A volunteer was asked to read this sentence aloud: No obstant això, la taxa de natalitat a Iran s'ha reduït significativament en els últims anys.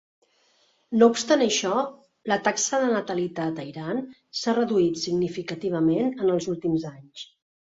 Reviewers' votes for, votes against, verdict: 5, 0, accepted